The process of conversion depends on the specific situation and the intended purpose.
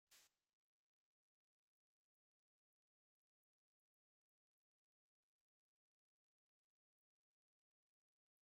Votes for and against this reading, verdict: 0, 2, rejected